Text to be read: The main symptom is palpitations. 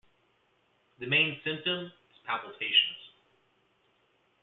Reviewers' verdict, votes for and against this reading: accepted, 2, 1